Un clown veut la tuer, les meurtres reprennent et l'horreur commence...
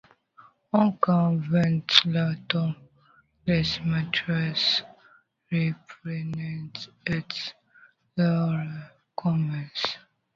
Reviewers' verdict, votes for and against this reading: rejected, 0, 2